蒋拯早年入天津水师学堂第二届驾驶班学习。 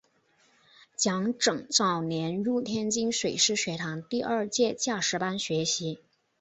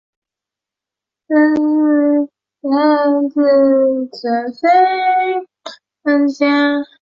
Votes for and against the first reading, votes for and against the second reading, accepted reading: 2, 0, 0, 3, first